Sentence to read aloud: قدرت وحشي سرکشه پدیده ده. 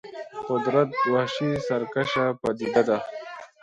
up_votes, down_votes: 2, 3